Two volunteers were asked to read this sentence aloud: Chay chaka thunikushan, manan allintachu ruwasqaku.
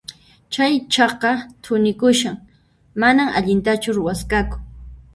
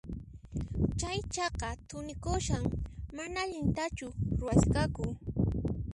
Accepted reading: second